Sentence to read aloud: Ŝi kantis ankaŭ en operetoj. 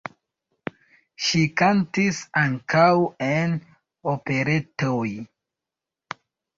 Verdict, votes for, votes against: accepted, 2, 1